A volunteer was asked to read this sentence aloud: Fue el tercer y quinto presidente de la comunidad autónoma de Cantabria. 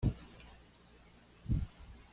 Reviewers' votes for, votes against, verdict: 1, 2, rejected